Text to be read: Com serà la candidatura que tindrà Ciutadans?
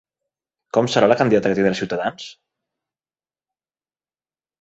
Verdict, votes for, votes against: rejected, 1, 2